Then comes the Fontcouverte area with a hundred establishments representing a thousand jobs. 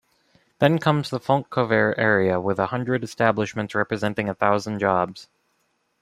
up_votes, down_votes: 2, 0